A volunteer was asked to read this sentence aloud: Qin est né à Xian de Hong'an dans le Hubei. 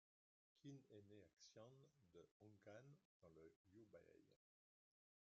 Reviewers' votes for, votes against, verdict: 0, 2, rejected